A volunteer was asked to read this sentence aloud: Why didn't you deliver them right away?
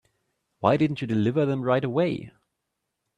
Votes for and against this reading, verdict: 2, 0, accepted